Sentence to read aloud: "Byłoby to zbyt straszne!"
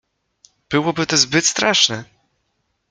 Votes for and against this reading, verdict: 2, 0, accepted